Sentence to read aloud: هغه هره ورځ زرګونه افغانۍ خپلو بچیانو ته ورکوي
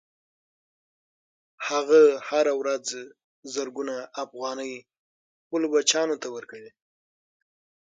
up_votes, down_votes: 3, 6